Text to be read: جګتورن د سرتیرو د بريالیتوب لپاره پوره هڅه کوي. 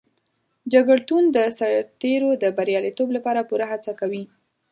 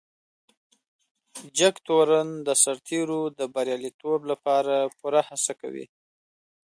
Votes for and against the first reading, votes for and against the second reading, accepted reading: 1, 2, 2, 0, second